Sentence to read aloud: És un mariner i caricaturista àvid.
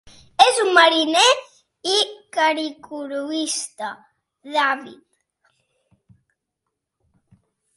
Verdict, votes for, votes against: rejected, 0, 2